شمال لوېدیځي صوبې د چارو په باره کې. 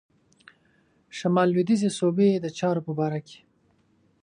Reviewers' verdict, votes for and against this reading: accepted, 2, 0